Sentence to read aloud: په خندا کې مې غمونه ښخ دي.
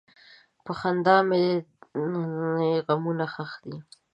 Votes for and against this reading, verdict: 1, 2, rejected